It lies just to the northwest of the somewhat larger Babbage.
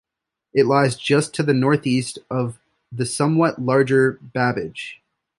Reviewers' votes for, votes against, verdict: 2, 0, accepted